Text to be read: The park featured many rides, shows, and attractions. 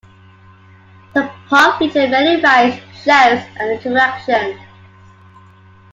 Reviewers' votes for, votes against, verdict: 2, 0, accepted